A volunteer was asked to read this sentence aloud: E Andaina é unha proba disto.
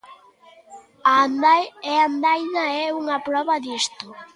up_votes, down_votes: 0, 2